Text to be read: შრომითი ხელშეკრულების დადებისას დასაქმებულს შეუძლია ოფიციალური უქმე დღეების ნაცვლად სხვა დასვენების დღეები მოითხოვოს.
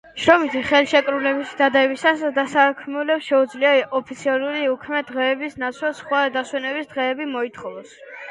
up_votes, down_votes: 1, 2